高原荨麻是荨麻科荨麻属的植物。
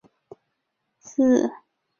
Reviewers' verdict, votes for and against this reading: rejected, 0, 3